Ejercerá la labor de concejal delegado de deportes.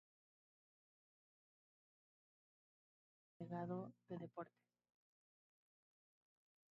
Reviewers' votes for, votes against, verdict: 0, 2, rejected